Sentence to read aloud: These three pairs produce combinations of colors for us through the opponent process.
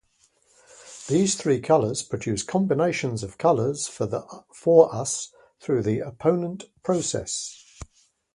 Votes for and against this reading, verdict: 0, 2, rejected